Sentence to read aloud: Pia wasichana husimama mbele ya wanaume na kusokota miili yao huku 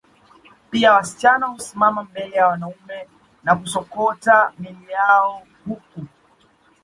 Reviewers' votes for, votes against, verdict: 2, 0, accepted